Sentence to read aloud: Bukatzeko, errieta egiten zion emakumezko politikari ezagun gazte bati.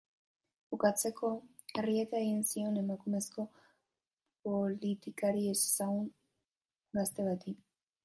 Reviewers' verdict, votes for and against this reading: rejected, 0, 2